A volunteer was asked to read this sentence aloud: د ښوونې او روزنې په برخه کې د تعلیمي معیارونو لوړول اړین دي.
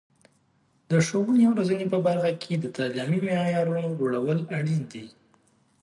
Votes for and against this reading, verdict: 3, 0, accepted